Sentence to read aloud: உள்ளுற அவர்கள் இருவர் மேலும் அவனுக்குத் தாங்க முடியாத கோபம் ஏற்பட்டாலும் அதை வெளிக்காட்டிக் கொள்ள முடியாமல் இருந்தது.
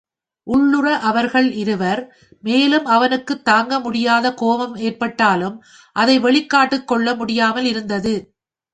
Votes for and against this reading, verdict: 2, 0, accepted